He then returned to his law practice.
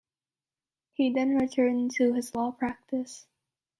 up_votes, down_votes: 2, 0